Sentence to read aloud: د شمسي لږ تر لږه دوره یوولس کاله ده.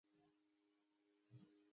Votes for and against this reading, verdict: 1, 2, rejected